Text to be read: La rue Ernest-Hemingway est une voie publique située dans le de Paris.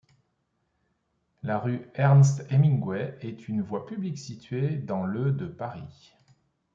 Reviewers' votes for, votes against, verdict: 2, 0, accepted